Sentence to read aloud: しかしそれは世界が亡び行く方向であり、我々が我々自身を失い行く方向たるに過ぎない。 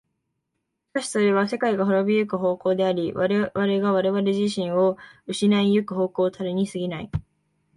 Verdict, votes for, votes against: accepted, 2, 0